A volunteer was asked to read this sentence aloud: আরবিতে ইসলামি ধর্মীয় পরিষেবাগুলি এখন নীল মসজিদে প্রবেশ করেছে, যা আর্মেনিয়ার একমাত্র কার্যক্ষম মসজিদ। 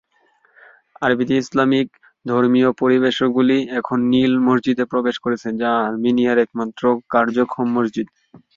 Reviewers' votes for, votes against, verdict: 0, 2, rejected